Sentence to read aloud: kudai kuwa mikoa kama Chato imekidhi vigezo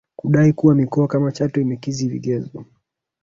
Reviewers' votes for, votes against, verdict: 1, 2, rejected